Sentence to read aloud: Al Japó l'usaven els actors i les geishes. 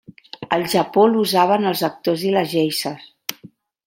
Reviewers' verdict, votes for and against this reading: rejected, 1, 2